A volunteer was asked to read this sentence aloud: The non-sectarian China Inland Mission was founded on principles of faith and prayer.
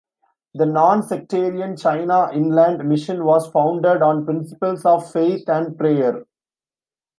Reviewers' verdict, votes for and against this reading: accepted, 2, 1